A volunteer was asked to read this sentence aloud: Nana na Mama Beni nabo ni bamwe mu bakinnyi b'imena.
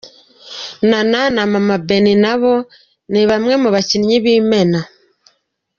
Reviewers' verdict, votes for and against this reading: rejected, 0, 2